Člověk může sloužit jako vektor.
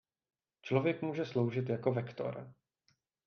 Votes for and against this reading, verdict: 2, 0, accepted